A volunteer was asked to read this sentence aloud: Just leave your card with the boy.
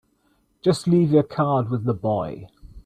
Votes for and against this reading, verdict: 2, 0, accepted